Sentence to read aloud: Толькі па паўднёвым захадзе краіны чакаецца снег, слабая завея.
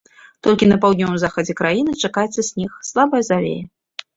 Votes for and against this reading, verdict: 1, 2, rejected